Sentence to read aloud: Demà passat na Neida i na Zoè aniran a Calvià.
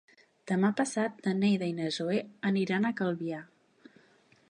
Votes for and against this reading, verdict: 3, 0, accepted